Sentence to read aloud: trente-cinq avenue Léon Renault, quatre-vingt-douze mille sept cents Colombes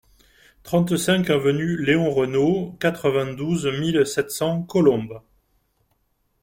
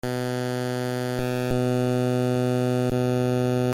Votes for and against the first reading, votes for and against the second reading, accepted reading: 2, 0, 0, 2, first